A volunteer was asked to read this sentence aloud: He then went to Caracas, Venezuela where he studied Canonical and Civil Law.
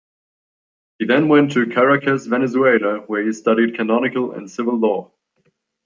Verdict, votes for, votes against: accepted, 2, 0